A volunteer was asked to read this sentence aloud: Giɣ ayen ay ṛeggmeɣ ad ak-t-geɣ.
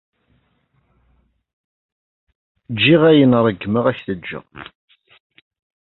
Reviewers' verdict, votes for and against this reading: rejected, 0, 2